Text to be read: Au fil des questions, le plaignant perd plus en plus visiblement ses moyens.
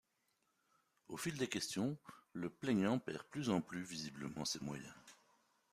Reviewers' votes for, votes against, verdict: 2, 0, accepted